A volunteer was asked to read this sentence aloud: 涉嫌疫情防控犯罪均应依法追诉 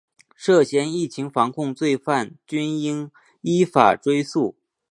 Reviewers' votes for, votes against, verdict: 0, 2, rejected